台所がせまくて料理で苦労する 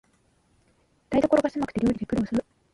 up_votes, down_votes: 0, 3